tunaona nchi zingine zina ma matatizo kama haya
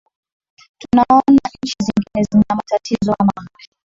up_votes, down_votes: 1, 2